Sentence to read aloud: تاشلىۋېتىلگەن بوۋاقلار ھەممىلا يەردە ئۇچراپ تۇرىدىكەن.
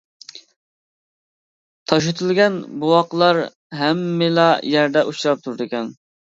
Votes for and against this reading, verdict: 1, 2, rejected